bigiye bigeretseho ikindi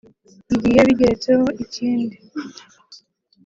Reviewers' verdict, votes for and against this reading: accepted, 3, 1